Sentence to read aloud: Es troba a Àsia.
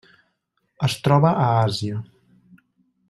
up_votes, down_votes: 3, 0